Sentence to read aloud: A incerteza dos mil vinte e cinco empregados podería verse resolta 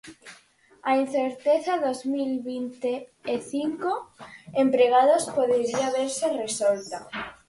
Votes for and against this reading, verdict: 4, 0, accepted